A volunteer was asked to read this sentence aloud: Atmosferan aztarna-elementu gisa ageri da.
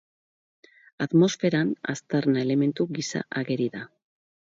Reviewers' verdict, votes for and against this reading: accepted, 4, 0